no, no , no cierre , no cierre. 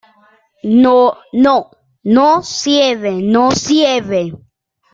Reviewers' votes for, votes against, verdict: 1, 2, rejected